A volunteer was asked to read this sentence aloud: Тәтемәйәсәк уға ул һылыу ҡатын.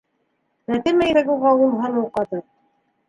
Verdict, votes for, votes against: rejected, 1, 2